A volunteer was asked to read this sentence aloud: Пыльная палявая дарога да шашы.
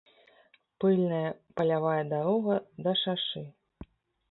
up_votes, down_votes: 2, 0